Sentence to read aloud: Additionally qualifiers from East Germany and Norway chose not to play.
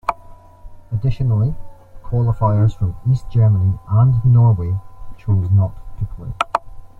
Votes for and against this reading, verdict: 0, 2, rejected